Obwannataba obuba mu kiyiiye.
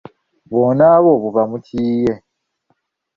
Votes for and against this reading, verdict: 0, 2, rejected